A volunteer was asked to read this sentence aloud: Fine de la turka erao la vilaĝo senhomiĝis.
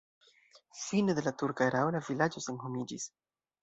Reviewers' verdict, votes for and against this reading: rejected, 0, 2